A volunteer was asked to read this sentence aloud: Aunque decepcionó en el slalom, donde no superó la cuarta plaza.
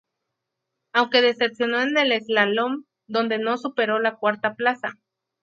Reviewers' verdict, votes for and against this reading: accepted, 4, 0